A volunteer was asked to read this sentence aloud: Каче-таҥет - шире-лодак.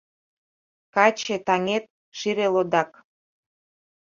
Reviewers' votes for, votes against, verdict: 2, 0, accepted